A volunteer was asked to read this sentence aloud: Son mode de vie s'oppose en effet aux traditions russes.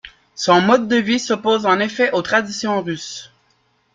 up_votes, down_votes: 2, 0